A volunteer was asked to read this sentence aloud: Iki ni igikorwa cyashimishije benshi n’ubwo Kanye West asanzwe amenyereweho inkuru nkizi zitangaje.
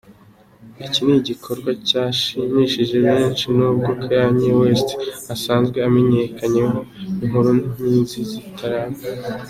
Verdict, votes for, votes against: rejected, 0, 2